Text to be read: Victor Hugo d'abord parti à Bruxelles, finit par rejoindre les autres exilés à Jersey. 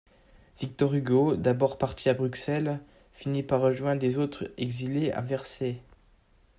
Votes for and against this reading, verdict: 0, 2, rejected